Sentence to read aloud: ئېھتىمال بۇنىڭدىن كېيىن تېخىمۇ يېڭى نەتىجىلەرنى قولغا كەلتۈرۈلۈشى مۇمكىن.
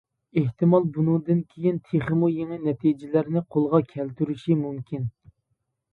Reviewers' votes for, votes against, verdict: 0, 2, rejected